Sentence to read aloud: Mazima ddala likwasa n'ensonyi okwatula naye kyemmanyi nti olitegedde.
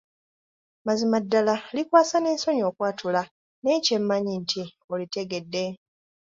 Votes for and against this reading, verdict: 2, 0, accepted